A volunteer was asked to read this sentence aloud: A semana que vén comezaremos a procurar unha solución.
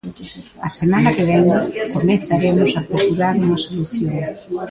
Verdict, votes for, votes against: accepted, 2, 0